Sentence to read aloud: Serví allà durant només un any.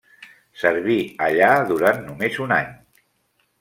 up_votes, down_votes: 3, 1